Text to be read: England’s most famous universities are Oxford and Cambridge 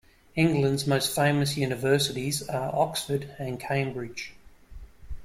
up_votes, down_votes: 2, 0